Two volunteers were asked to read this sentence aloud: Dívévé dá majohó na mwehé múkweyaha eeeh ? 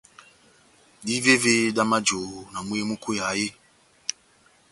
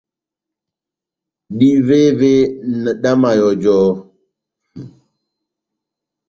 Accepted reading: first